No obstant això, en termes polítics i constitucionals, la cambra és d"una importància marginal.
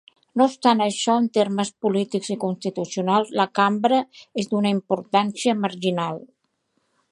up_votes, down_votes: 2, 0